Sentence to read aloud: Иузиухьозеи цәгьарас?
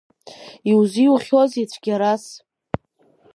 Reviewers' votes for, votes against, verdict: 2, 0, accepted